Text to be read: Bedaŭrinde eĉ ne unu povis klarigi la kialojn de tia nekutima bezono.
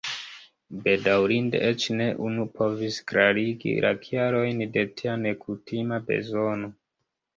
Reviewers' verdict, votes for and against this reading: rejected, 0, 2